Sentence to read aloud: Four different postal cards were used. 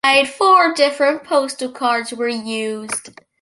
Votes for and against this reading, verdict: 0, 2, rejected